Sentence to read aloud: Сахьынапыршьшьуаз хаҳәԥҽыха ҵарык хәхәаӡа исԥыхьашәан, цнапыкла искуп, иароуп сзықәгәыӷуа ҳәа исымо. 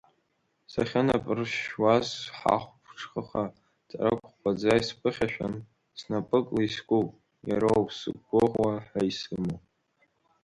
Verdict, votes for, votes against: rejected, 0, 2